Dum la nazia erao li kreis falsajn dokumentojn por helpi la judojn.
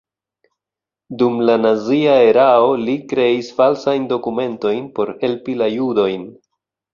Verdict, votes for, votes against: accepted, 2, 0